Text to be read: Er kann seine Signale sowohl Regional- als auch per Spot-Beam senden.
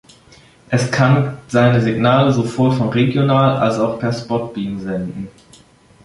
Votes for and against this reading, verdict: 1, 2, rejected